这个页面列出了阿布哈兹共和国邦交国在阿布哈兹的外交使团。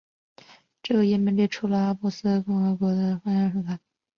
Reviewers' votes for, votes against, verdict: 2, 0, accepted